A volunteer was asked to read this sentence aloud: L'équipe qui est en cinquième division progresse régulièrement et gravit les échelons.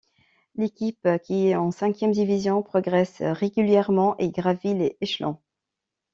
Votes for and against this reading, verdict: 2, 0, accepted